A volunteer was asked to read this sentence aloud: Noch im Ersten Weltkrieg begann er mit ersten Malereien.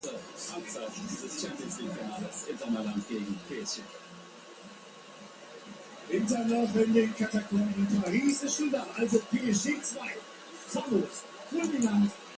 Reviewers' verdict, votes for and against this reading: rejected, 0, 2